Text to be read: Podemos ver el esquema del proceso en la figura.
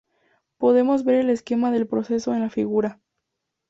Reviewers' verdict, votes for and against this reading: accepted, 2, 0